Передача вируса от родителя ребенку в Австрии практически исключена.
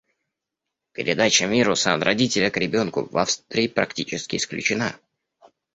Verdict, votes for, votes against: rejected, 0, 2